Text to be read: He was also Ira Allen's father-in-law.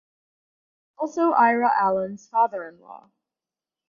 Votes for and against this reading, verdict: 2, 2, rejected